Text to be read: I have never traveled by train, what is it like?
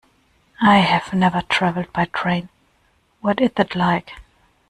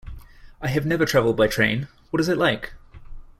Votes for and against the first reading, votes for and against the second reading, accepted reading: 1, 2, 2, 0, second